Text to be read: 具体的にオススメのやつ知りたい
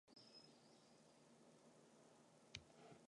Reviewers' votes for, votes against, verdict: 0, 2, rejected